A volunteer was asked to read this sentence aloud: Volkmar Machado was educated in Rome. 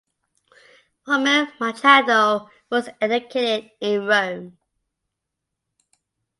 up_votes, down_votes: 1, 2